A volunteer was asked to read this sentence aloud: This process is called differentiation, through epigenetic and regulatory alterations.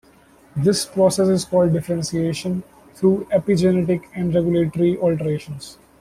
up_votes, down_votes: 0, 2